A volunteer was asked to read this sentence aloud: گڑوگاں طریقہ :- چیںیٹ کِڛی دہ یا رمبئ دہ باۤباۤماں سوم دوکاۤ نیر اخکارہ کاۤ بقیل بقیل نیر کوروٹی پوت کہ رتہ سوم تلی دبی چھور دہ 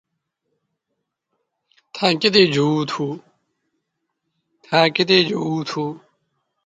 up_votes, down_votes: 0, 2